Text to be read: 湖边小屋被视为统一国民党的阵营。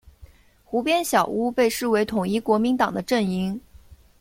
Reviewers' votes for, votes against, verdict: 2, 0, accepted